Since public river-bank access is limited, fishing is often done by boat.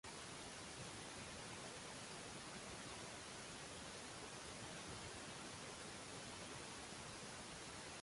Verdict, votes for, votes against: rejected, 0, 2